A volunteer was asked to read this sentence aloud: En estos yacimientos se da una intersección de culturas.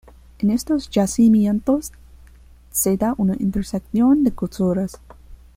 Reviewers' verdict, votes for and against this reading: rejected, 1, 2